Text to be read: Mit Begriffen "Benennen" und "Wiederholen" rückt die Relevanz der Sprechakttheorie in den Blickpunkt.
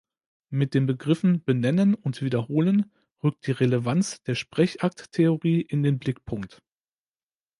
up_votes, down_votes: 1, 2